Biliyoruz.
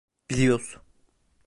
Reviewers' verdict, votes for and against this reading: rejected, 1, 2